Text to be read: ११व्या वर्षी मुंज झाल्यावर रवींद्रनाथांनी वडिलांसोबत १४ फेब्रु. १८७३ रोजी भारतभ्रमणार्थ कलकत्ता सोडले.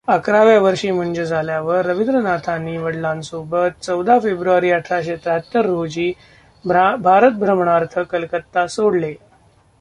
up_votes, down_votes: 0, 2